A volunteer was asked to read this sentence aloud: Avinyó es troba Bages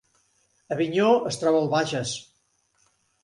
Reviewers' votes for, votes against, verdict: 1, 2, rejected